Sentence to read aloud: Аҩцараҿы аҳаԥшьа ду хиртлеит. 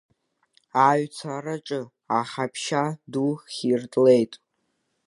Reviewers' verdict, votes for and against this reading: accepted, 2, 0